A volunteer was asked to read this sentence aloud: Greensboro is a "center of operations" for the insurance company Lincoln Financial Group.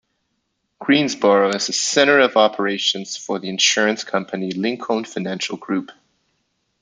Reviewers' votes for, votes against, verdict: 2, 0, accepted